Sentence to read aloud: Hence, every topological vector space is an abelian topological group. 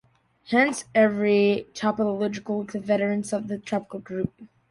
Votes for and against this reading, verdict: 0, 2, rejected